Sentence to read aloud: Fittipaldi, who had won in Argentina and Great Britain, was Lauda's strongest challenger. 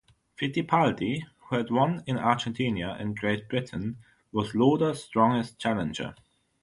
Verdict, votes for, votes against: rejected, 3, 3